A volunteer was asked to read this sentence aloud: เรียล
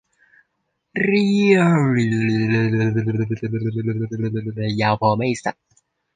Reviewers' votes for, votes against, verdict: 0, 2, rejected